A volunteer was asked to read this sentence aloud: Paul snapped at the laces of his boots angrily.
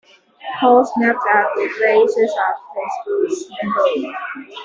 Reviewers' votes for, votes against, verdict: 0, 2, rejected